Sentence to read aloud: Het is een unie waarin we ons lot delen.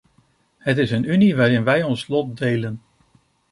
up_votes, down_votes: 1, 2